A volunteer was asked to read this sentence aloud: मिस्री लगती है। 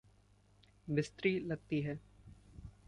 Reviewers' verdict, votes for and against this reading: rejected, 1, 2